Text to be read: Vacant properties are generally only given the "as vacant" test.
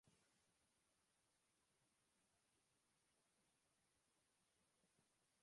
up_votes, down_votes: 1, 2